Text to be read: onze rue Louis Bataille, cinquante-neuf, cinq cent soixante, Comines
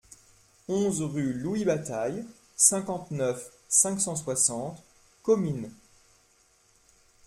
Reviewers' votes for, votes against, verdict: 2, 0, accepted